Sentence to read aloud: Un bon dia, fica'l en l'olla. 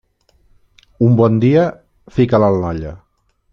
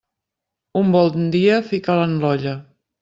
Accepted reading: first